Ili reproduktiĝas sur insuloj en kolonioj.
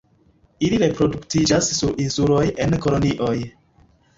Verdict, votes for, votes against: accepted, 2, 0